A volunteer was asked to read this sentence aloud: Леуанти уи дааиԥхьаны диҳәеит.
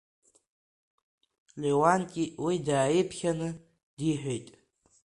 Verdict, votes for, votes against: accepted, 2, 0